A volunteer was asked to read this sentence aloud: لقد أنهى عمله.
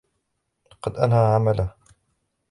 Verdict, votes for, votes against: accepted, 2, 0